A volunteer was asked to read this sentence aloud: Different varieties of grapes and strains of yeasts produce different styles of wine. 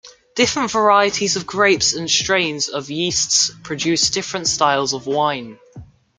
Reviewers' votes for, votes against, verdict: 1, 2, rejected